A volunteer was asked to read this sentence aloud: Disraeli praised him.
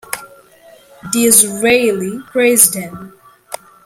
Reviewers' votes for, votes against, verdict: 2, 0, accepted